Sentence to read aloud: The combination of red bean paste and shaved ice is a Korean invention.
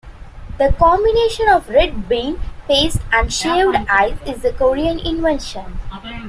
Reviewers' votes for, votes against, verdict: 2, 1, accepted